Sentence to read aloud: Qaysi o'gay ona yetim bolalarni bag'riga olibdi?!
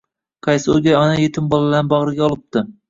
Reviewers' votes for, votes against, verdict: 1, 2, rejected